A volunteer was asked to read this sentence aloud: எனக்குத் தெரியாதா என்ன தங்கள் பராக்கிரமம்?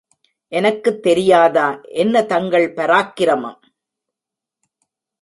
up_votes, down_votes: 2, 0